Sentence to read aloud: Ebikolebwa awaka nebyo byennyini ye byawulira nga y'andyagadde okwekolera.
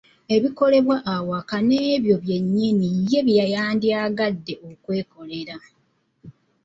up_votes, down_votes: 2, 3